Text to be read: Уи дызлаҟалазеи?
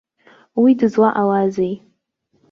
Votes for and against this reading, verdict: 2, 0, accepted